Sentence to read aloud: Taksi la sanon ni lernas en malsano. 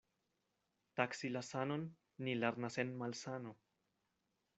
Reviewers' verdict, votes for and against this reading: accepted, 2, 0